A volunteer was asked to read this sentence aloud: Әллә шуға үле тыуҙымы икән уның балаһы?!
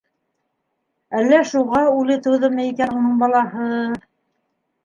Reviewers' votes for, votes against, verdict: 0, 2, rejected